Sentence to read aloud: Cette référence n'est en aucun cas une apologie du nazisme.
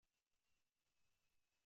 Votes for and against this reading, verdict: 0, 2, rejected